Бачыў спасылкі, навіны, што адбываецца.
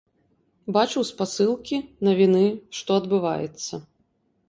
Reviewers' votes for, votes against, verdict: 1, 2, rejected